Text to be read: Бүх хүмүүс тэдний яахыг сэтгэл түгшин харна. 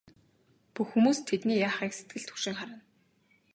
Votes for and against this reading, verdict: 2, 0, accepted